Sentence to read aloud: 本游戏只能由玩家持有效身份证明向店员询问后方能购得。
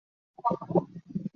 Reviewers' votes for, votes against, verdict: 2, 6, rejected